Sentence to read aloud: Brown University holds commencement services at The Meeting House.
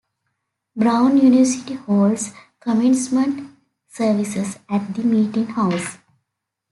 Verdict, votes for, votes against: accepted, 2, 0